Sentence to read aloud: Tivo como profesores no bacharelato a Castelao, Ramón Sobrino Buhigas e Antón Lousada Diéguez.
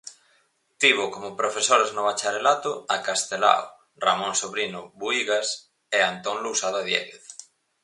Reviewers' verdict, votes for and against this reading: accepted, 4, 0